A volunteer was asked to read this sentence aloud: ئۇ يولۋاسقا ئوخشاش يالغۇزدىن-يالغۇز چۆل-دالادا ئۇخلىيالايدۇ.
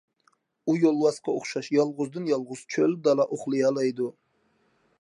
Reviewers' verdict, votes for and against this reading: rejected, 0, 2